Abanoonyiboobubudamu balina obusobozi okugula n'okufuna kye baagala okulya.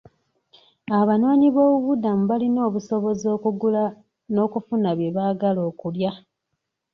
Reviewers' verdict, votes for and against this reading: rejected, 1, 2